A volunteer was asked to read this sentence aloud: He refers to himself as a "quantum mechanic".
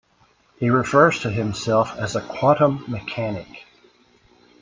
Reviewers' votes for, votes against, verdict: 2, 1, accepted